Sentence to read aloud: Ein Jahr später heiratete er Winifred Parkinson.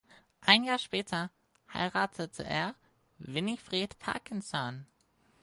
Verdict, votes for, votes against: accepted, 4, 0